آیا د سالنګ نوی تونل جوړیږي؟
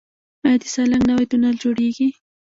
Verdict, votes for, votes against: rejected, 1, 2